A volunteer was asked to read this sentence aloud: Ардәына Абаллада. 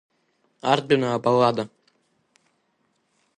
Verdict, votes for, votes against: accepted, 2, 0